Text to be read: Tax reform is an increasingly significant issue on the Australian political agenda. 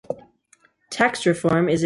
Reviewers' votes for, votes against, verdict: 0, 2, rejected